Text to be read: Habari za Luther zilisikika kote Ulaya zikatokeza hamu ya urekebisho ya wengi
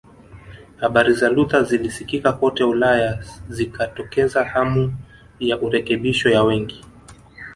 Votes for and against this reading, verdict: 0, 2, rejected